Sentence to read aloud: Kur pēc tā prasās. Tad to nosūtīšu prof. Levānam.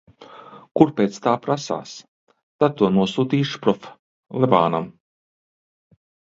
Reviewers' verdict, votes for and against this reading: accepted, 2, 1